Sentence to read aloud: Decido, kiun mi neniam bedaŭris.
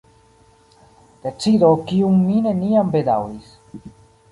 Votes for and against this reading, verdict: 1, 2, rejected